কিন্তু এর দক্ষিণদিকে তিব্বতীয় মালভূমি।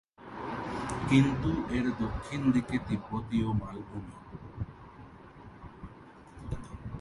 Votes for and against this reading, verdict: 3, 3, rejected